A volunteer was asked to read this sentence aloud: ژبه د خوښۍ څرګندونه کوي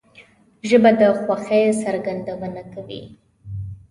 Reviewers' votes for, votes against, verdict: 2, 0, accepted